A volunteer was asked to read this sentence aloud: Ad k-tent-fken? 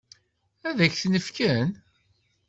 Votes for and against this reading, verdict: 0, 2, rejected